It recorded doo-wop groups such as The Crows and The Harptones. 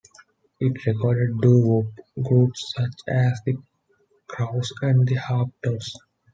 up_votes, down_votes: 2, 1